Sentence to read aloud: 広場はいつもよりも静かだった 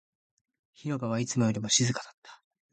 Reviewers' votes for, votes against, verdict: 3, 0, accepted